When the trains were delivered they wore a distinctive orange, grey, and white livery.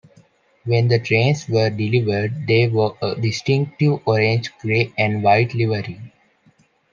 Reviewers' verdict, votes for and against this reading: accepted, 2, 0